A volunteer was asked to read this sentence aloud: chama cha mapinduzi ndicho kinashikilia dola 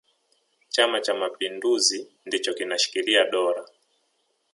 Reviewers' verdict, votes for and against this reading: accepted, 3, 0